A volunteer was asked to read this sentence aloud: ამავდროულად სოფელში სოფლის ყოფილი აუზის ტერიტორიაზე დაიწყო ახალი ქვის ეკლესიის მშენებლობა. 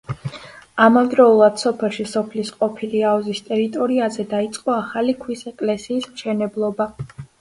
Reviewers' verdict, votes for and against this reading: accepted, 2, 0